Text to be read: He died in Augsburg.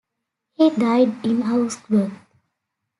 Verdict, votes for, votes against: accepted, 2, 0